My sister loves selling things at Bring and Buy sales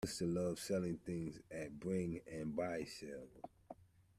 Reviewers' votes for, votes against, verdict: 0, 2, rejected